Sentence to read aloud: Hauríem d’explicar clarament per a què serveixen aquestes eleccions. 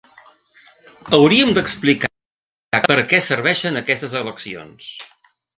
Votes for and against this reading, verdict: 0, 2, rejected